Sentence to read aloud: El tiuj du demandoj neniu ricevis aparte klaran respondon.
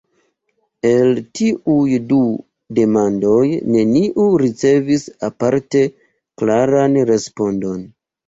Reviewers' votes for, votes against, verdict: 2, 0, accepted